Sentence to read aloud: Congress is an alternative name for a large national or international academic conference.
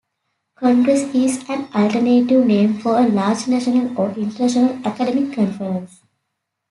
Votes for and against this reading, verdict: 2, 1, accepted